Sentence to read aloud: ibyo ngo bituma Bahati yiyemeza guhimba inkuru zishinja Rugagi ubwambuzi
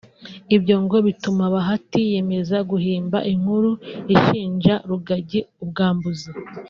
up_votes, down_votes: 1, 2